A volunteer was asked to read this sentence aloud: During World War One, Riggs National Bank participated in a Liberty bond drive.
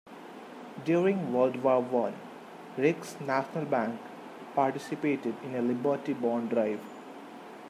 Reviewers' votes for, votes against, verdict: 2, 0, accepted